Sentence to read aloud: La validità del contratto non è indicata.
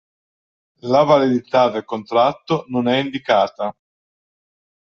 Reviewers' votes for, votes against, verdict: 2, 0, accepted